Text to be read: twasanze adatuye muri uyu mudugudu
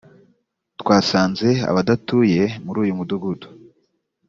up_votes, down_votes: 0, 2